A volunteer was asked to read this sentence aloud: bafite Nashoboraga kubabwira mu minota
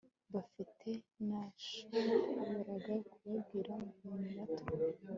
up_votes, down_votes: 1, 2